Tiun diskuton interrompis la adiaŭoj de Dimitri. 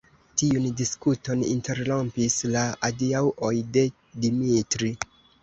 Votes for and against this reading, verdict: 2, 1, accepted